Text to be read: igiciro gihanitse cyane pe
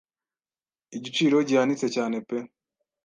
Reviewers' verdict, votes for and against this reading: accepted, 2, 0